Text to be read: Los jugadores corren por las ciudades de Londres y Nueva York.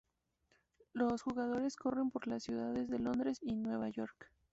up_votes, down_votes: 2, 0